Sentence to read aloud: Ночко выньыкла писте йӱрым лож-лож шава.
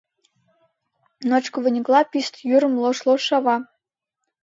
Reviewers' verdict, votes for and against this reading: accepted, 2, 0